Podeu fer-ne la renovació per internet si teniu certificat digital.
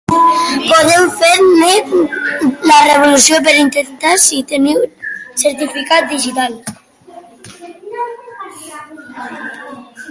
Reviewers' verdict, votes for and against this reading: rejected, 0, 2